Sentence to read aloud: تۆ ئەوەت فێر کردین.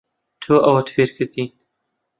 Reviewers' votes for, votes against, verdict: 2, 0, accepted